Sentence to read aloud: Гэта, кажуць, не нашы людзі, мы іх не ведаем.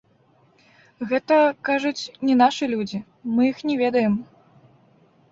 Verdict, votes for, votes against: accepted, 2, 0